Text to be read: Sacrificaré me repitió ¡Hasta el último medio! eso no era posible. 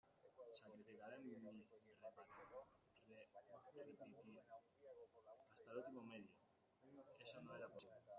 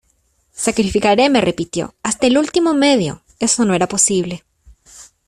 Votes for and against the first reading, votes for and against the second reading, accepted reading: 0, 2, 2, 0, second